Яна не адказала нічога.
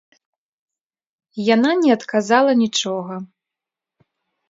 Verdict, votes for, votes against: accepted, 2, 0